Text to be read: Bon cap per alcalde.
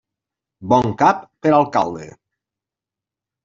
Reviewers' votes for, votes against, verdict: 3, 0, accepted